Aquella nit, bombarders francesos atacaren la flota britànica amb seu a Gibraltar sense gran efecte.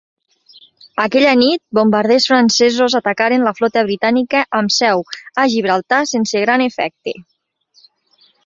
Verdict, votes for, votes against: accepted, 2, 0